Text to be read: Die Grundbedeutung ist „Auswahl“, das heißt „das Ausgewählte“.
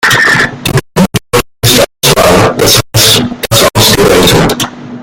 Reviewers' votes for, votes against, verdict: 0, 2, rejected